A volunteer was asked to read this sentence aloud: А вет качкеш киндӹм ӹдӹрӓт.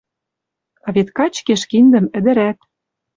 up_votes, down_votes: 2, 0